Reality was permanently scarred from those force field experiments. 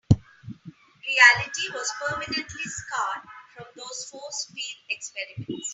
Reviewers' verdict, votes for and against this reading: rejected, 2, 3